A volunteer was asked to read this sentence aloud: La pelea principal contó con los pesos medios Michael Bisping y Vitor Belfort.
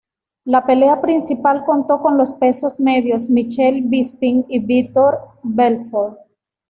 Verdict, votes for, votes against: accepted, 2, 0